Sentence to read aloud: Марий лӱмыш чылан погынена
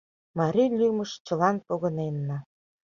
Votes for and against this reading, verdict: 1, 2, rejected